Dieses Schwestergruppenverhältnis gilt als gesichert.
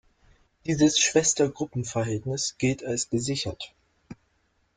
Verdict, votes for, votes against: accepted, 2, 0